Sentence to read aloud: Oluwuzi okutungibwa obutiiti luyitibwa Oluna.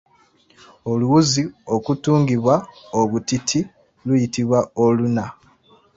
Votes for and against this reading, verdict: 2, 1, accepted